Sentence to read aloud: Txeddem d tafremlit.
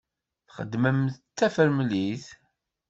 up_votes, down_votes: 1, 2